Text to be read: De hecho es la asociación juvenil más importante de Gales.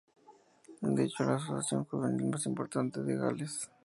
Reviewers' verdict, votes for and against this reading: accepted, 2, 0